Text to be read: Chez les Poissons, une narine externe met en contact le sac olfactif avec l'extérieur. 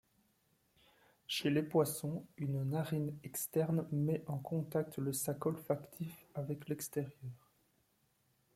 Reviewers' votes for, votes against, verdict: 1, 2, rejected